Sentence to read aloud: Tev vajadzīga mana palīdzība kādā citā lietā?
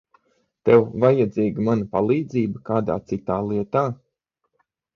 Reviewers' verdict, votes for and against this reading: accepted, 6, 0